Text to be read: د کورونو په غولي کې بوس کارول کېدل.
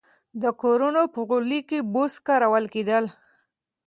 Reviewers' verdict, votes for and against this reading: accepted, 2, 0